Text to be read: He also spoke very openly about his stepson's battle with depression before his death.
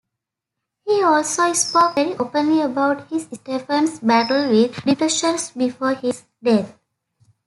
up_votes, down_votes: 1, 2